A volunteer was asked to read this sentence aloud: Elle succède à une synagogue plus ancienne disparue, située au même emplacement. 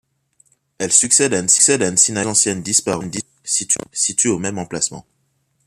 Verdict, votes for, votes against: rejected, 0, 2